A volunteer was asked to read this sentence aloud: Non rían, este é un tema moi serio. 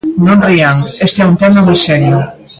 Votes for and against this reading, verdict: 1, 2, rejected